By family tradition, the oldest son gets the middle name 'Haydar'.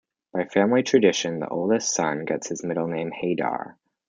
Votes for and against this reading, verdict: 2, 1, accepted